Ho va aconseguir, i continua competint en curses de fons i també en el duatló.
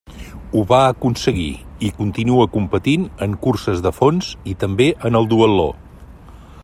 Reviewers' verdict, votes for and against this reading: accepted, 2, 0